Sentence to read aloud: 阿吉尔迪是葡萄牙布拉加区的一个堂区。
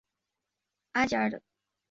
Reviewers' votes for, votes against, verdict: 1, 2, rejected